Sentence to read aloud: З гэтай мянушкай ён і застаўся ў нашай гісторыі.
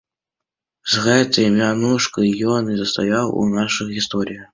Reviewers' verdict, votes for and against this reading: rejected, 0, 2